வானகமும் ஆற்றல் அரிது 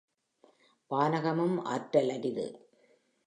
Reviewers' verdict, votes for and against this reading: accepted, 2, 0